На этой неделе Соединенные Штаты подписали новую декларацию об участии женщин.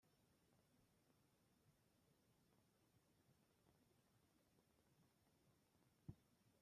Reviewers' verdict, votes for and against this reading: rejected, 0, 2